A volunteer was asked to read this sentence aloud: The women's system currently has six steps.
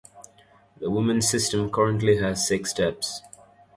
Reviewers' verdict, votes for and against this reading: accepted, 2, 0